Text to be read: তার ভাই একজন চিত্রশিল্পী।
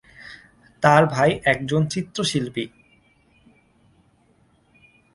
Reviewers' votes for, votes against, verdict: 2, 0, accepted